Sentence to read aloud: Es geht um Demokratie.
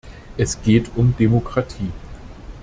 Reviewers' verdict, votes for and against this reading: accepted, 2, 0